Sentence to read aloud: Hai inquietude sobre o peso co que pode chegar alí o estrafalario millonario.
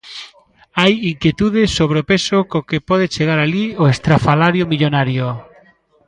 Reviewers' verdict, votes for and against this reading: rejected, 1, 2